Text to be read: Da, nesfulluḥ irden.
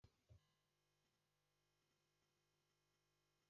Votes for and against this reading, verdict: 0, 2, rejected